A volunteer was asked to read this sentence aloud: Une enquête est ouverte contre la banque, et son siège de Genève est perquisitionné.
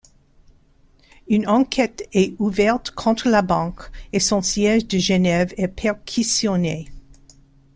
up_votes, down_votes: 1, 2